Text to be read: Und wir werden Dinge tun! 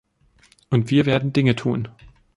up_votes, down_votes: 3, 0